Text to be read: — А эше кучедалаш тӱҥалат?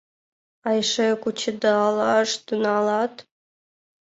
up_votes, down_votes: 1, 2